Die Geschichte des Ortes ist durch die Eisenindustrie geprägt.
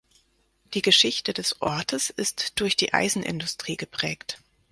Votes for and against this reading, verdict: 4, 0, accepted